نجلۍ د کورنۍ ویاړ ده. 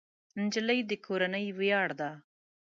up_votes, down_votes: 2, 0